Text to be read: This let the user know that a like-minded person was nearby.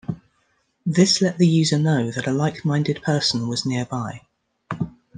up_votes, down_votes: 2, 0